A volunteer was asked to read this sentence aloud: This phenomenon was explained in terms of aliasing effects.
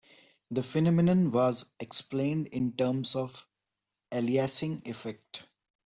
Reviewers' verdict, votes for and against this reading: rejected, 0, 2